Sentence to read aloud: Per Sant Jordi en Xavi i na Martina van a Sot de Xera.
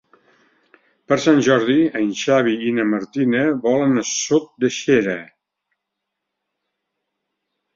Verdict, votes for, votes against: rejected, 0, 2